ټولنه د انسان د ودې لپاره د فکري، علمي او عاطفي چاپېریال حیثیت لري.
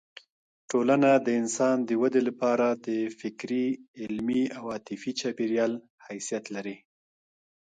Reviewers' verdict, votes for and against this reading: rejected, 1, 2